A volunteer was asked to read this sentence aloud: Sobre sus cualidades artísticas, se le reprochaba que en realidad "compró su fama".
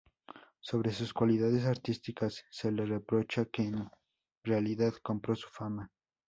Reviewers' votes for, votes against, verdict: 2, 2, rejected